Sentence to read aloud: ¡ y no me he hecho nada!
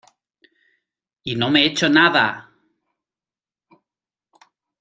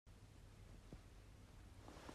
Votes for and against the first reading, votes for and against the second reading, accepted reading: 2, 0, 0, 2, first